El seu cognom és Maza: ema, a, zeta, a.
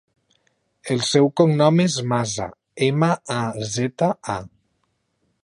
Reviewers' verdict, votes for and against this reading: accepted, 2, 0